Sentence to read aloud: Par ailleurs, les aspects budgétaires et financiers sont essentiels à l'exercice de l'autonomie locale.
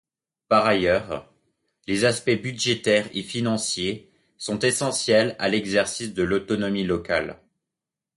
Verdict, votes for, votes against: accepted, 2, 1